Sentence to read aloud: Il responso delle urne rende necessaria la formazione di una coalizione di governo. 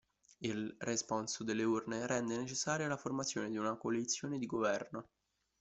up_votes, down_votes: 1, 2